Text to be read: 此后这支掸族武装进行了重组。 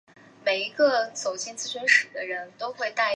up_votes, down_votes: 1, 2